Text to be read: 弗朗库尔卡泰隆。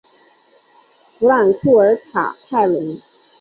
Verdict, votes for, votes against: accepted, 2, 0